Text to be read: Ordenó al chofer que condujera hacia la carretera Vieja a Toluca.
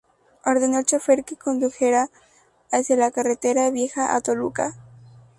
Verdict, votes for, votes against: accepted, 2, 0